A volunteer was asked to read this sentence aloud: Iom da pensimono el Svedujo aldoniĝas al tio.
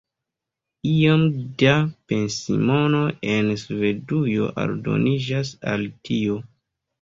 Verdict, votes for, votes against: rejected, 1, 2